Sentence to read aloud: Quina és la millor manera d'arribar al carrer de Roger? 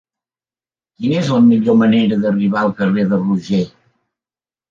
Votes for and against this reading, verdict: 1, 2, rejected